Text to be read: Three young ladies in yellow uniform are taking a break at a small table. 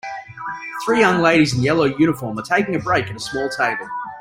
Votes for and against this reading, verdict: 1, 3, rejected